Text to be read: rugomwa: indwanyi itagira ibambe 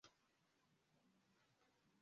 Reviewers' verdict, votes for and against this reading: rejected, 0, 2